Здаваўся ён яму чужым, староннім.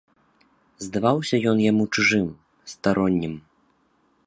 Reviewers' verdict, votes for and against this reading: accepted, 2, 0